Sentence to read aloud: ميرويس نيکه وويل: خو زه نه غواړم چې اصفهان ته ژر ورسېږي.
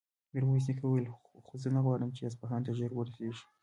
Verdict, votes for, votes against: rejected, 1, 2